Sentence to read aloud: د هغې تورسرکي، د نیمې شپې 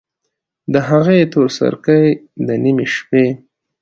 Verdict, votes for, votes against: accepted, 2, 0